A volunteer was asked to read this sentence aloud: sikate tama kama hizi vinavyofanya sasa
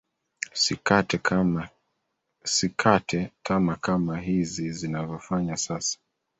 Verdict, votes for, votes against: rejected, 1, 2